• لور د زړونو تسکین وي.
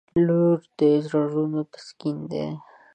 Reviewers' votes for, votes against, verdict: 1, 2, rejected